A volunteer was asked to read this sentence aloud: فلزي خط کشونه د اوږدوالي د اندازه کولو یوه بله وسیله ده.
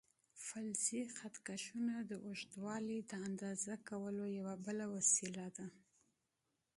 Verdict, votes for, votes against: accepted, 2, 0